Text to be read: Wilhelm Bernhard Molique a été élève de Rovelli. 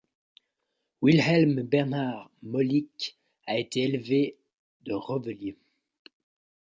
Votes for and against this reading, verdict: 1, 2, rejected